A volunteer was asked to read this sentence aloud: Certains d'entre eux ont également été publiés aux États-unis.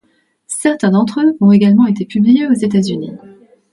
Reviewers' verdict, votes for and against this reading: accepted, 2, 0